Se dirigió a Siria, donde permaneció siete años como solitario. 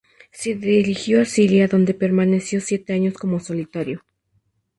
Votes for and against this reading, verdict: 2, 0, accepted